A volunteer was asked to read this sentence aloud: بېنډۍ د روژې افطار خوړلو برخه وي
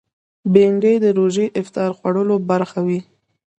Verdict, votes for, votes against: rejected, 1, 2